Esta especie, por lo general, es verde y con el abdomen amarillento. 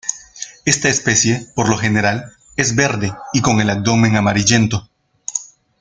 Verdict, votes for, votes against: accepted, 2, 0